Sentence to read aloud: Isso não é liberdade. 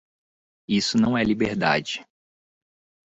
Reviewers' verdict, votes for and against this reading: accepted, 2, 0